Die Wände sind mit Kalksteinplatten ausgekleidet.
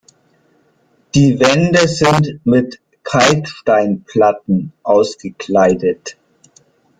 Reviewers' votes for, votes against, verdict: 1, 2, rejected